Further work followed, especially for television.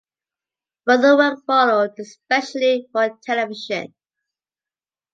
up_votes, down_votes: 2, 0